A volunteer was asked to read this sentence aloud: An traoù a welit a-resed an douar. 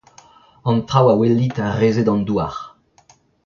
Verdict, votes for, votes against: accepted, 2, 1